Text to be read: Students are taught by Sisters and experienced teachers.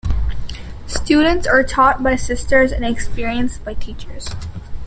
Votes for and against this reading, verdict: 0, 2, rejected